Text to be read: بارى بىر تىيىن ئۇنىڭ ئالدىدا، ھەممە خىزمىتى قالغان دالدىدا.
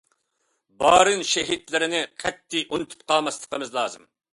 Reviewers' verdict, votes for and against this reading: rejected, 0, 2